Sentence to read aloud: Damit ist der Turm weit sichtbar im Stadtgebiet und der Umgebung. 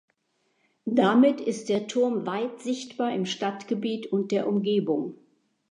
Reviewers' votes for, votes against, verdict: 2, 0, accepted